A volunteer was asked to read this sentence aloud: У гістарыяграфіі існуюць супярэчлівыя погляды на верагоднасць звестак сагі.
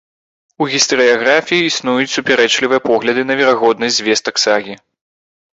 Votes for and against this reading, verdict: 2, 1, accepted